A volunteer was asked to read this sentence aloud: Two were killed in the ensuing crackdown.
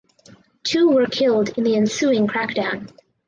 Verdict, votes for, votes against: accepted, 4, 0